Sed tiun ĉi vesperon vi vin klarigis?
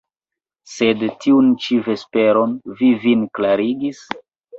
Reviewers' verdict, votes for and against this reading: accepted, 3, 2